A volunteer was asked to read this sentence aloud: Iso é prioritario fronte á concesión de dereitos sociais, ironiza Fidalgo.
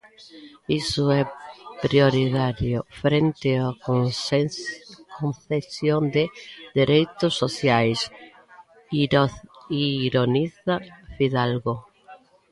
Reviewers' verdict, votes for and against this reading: rejected, 0, 2